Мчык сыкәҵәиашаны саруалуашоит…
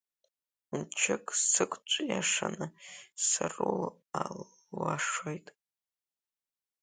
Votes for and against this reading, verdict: 1, 3, rejected